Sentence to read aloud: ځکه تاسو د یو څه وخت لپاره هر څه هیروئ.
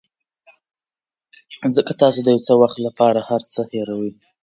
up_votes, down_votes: 2, 0